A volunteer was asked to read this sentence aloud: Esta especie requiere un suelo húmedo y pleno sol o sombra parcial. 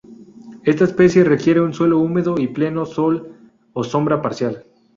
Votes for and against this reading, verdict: 4, 0, accepted